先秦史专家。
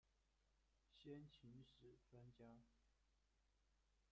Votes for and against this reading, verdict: 0, 2, rejected